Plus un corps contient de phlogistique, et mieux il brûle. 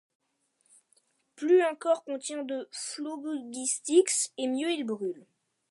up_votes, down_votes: 1, 2